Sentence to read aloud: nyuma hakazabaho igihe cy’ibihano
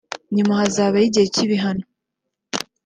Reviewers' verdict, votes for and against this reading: accepted, 2, 0